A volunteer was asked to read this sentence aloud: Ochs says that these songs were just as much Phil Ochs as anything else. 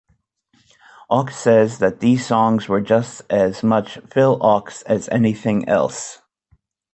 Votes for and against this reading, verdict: 2, 0, accepted